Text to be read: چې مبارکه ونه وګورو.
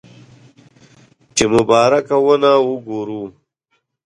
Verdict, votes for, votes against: accepted, 2, 1